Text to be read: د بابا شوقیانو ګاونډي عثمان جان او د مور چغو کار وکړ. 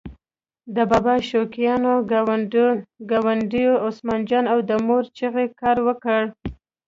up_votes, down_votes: 1, 2